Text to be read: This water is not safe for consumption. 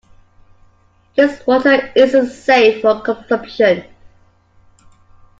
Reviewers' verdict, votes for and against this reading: rejected, 0, 2